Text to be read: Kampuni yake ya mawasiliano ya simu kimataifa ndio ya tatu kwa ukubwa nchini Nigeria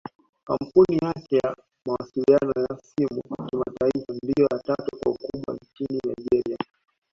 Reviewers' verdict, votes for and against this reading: accepted, 2, 0